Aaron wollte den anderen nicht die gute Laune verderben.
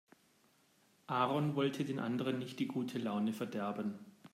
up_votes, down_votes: 2, 0